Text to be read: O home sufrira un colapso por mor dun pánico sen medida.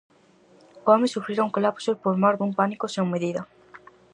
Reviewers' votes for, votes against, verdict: 4, 0, accepted